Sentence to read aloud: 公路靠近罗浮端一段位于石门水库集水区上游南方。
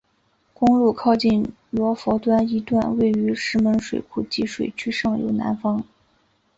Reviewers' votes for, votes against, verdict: 2, 0, accepted